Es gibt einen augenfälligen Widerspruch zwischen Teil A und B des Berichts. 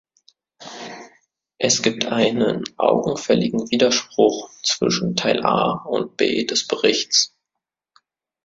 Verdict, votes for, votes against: accepted, 2, 0